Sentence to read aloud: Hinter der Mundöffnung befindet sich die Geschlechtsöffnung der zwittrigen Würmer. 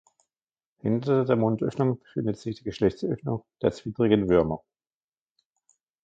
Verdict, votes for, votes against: rejected, 1, 2